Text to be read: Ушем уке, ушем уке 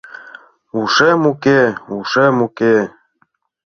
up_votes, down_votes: 2, 0